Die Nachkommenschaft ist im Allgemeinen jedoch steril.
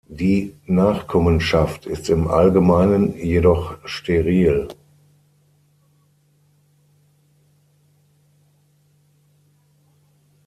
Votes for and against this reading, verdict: 6, 3, accepted